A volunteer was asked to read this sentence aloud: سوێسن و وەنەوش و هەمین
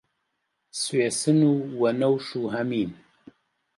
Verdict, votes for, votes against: accepted, 2, 0